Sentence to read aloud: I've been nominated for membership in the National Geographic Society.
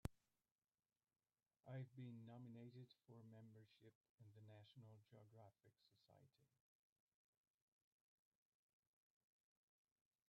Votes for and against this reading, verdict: 1, 2, rejected